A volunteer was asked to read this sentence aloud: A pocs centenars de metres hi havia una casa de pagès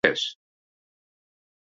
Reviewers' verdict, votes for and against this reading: rejected, 0, 2